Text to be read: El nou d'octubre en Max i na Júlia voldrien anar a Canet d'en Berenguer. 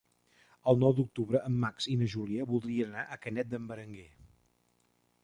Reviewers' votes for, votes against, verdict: 0, 2, rejected